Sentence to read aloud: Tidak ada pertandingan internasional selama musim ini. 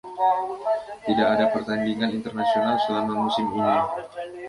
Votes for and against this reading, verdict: 1, 2, rejected